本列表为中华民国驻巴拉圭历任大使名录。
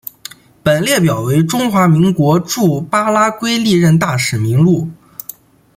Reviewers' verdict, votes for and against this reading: accepted, 2, 0